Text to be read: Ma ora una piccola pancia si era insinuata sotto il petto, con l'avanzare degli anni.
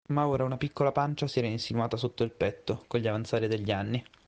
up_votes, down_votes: 1, 2